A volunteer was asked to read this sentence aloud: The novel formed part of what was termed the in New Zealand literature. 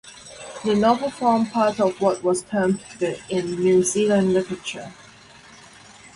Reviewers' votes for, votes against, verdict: 2, 2, rejected